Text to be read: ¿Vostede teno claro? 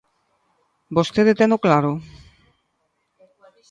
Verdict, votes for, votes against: accepted, 2, 0